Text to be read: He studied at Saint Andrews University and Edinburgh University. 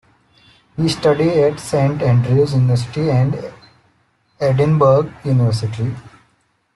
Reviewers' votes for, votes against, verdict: 0, 2, rejected